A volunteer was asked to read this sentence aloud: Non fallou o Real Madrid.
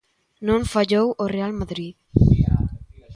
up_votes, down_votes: 1, 2